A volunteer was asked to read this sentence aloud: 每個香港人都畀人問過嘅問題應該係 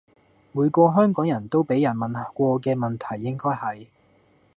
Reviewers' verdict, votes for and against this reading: rejected, 1, 2